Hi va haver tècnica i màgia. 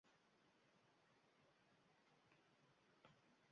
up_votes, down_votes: 0, 2